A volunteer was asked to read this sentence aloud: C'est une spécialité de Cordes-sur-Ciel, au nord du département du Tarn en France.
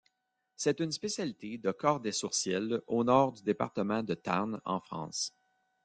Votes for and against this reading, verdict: 1, 2, rejected